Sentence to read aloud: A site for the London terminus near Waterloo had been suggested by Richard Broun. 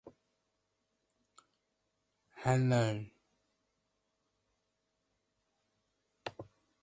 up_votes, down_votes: 0, 2